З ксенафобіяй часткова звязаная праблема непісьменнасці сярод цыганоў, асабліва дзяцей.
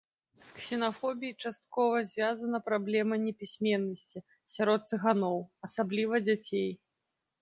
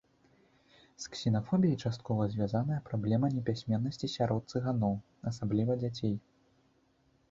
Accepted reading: second